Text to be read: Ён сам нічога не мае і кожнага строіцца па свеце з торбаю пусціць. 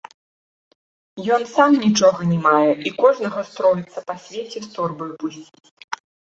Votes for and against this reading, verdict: 2, 1, accepted